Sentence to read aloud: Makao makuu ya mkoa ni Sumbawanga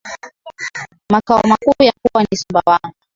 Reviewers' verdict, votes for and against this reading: rejected, 0, 2